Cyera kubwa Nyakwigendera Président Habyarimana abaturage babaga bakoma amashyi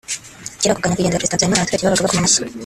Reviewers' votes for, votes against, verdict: 1, 2, rejected